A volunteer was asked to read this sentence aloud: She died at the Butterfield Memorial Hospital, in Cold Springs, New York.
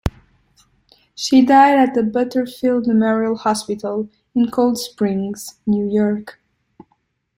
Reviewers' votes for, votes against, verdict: 2, 0, accepted